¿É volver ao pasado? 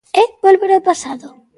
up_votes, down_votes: 2, 0